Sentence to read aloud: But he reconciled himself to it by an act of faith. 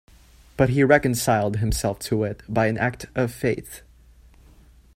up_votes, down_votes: 2, 0